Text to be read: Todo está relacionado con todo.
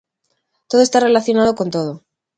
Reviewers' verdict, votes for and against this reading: accepted, 2, 0